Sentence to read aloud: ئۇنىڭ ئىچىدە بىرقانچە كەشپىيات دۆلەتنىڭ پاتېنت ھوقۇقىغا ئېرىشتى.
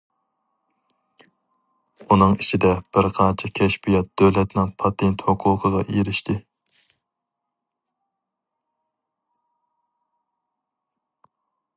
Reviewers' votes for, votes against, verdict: 2, 0, accepted